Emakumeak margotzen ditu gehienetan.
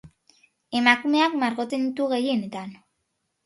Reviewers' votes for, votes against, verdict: 2, 0, accepted